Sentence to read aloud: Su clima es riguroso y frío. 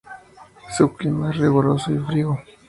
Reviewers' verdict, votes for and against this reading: rejected, 0, 2